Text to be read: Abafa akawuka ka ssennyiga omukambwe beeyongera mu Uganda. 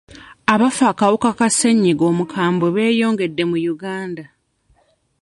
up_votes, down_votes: 0, 2